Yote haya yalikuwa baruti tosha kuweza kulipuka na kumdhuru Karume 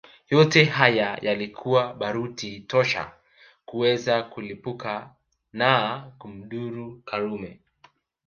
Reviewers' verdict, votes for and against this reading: rejected, 1, 2